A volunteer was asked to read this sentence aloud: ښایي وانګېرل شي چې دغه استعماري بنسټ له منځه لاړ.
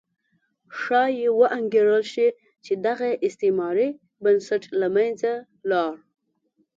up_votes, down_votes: 2, 0